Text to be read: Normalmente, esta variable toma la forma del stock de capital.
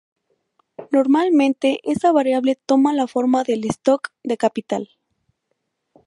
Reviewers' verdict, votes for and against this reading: rejected, 2, 2